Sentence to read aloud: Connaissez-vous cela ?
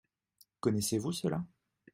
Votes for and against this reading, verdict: 2, 0, accepted